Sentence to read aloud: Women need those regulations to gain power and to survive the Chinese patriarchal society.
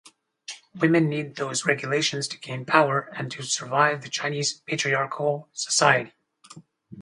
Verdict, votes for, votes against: accepted, 4, 0